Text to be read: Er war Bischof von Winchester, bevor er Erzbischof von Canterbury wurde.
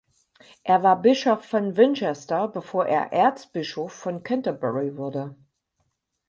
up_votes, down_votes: 4, 0